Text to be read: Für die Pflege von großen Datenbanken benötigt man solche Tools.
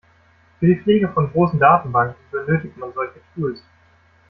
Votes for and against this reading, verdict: 1, 2, rejected